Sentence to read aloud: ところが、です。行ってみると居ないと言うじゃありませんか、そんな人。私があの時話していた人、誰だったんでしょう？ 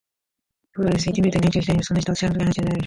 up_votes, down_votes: 0, 4